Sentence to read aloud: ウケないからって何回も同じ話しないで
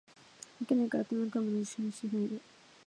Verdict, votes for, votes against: rejected, 1, 2